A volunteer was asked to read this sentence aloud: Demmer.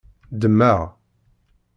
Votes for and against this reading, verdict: 1, 2, rejected